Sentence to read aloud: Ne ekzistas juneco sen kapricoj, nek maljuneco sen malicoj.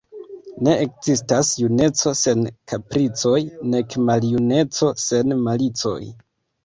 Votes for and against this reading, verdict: 2, 0, accepted